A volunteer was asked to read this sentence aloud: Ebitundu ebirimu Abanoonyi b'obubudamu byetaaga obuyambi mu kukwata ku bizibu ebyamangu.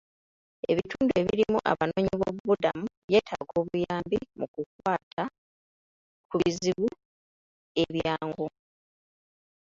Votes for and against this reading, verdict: 0, 2, rejected